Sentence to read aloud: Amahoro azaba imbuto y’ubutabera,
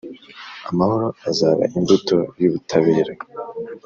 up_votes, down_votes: 3, 0